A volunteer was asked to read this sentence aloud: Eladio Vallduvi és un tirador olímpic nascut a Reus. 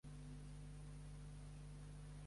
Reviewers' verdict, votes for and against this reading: rejected, 0, 2